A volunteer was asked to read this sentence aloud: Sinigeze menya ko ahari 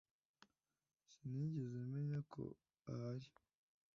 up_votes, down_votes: 2, 0